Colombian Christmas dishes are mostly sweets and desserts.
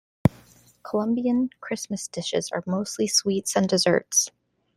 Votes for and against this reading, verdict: 2, 0, accepted